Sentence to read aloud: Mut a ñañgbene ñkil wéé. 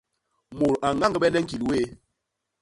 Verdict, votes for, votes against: accepted, 2, 0